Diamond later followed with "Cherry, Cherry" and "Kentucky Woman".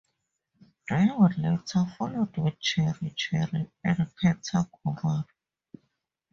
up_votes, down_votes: 2, 2